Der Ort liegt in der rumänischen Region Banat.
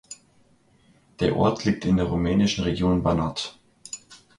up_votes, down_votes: 2, 0